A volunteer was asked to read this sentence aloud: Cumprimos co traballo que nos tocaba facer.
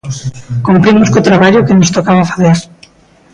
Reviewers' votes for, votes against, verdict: 1, 2, rejected